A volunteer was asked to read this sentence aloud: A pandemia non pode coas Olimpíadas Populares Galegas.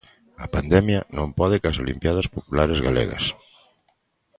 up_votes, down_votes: 0, 2